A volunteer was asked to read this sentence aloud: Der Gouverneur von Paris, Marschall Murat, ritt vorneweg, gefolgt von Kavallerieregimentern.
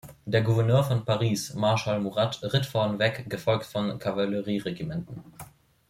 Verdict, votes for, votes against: rejected, 1, 2